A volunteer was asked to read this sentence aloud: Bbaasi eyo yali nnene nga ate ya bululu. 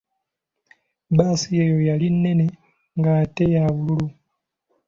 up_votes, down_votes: 2, 1